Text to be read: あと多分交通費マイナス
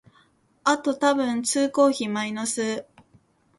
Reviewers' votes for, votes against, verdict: 1, 3, rejected